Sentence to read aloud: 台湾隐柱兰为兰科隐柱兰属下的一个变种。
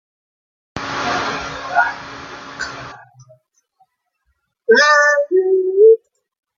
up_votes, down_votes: 0, 2